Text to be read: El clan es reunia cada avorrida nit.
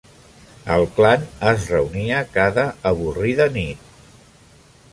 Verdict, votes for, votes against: accepted, 2, 0